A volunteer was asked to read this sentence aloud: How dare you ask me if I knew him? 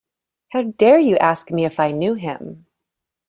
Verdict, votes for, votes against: accepted, 2, 0